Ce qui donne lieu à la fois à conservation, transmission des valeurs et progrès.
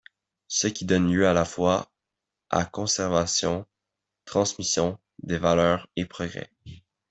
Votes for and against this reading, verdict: 2, 0, accepted